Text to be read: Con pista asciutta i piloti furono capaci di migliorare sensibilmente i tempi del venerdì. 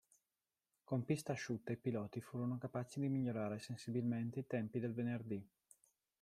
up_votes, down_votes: 1, 2